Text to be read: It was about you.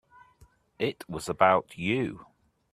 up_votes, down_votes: 2, 0